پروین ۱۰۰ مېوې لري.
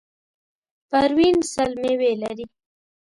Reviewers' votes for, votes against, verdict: 0, 2, rejected